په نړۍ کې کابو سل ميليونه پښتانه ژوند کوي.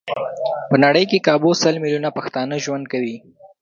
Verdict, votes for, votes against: rejected, 1, 2